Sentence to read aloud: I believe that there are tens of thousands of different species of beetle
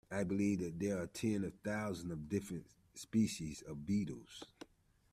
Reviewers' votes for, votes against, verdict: 0, 2, rejected